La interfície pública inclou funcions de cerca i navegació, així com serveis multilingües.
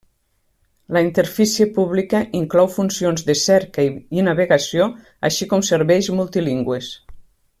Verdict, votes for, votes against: accepted, 4, 2